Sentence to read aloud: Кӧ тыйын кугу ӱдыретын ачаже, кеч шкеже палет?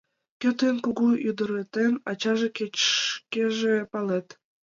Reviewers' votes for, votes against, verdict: 1, 4, rejected